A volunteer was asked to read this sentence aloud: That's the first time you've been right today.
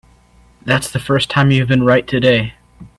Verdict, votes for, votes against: accepted, 2, 0